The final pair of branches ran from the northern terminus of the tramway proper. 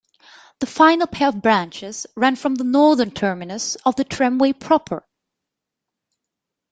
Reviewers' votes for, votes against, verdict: 2, 0, accepted